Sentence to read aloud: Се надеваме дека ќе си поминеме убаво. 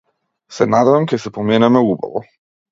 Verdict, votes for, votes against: rejected, 0, 2